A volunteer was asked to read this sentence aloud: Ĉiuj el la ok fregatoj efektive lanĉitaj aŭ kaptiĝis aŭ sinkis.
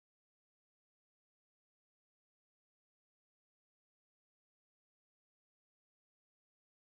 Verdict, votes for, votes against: rejected, 0, 2